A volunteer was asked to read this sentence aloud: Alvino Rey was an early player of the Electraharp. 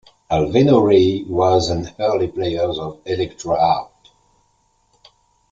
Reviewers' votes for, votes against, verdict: 1, 2, rejected